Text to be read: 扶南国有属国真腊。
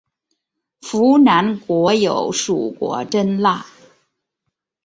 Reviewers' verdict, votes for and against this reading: rejected, 2, 2